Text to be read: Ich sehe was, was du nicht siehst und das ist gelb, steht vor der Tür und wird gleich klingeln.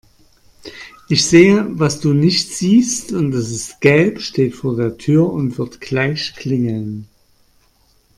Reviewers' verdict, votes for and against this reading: rejected, 1, 2